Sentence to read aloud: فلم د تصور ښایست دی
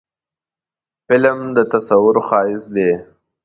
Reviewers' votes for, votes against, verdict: 2, 0, accepted